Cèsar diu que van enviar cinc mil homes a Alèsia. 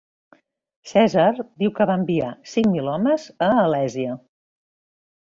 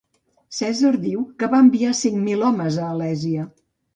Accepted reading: first